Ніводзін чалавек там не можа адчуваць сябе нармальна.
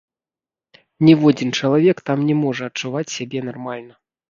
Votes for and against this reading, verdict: 0, 2, rejected